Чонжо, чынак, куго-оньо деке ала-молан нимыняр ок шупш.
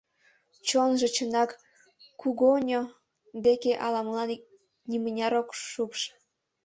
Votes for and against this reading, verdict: 0, 2, rejected